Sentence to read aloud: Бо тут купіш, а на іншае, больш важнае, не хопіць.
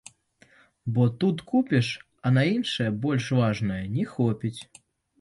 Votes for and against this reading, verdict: 2, 0, accepted